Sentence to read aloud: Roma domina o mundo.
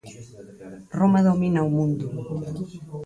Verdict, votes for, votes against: accepted, 4, 2